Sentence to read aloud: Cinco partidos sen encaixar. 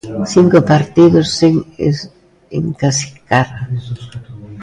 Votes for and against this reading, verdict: 0, 2, rejected